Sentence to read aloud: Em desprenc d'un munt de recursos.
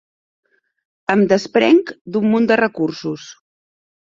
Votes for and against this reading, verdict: 2, 0, accepted